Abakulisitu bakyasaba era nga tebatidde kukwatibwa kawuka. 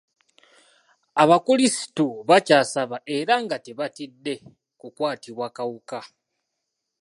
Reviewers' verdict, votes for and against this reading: accepted, 2, 0